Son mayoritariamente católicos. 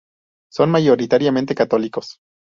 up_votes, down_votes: 0, 2